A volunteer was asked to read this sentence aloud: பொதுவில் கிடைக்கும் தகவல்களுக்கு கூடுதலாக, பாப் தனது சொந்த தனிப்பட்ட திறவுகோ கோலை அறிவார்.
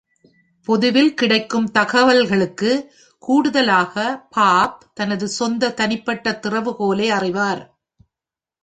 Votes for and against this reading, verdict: 1, 2, rejected